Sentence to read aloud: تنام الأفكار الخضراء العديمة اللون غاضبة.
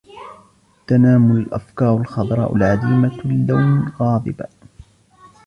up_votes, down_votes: 0, 2